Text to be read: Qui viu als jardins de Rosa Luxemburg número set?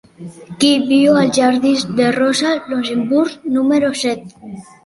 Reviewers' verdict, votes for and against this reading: accepted, 2, 1